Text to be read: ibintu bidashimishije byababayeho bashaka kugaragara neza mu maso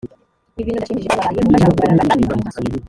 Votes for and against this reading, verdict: 1, 3, rejected